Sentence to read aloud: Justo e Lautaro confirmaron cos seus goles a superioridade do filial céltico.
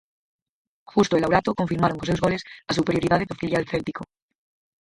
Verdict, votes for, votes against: rejected, 0, 4